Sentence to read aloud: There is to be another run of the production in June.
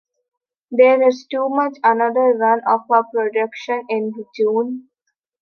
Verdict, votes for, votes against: rejected, 0, 3